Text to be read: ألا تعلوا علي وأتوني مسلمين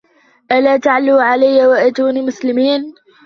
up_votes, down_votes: 2, 1